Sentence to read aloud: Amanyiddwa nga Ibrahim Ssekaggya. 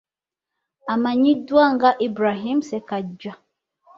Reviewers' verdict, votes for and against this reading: accepted, 3, 0